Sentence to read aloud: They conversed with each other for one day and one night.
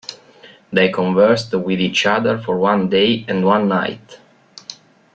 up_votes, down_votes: 2, 0